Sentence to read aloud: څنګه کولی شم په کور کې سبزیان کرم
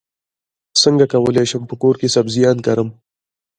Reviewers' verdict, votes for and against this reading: accepted, 2, 1